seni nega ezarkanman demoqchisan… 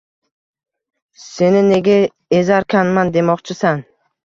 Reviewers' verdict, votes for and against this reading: rejected, 1, 2